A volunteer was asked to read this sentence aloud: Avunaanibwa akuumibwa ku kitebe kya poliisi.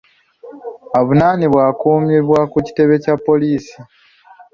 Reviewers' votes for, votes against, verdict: 2, 0, accepted